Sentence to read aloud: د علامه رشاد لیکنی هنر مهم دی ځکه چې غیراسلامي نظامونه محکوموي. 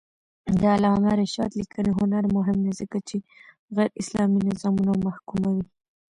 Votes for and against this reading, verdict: 1, 2, rejected